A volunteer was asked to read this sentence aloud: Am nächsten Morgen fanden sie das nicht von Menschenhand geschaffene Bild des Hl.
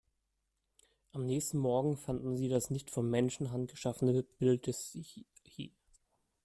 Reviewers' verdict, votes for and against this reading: rejected, 0, 2